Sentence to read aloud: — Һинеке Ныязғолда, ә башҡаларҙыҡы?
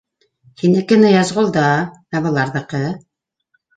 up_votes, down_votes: 1, 2